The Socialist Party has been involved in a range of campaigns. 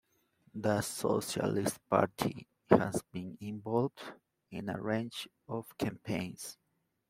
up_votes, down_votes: 2, 0